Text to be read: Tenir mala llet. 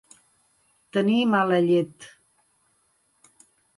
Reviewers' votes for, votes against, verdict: 2, 0, accepted